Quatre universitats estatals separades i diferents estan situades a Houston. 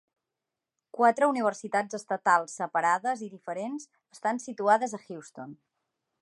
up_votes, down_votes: 1, 2